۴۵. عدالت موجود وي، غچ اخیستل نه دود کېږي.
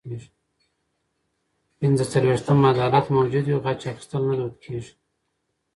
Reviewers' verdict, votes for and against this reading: rejected, 0, 2